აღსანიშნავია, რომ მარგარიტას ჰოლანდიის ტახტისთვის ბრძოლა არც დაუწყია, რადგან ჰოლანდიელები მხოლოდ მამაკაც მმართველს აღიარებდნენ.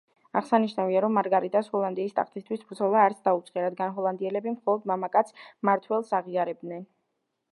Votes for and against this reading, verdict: 1, 2, rejected